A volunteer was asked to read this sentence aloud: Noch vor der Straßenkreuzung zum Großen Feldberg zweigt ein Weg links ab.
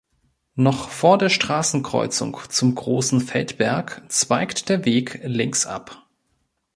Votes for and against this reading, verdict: 1, 2, rejected